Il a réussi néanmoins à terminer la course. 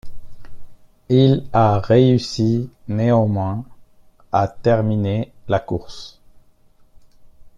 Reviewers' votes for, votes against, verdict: 2, 0, accepted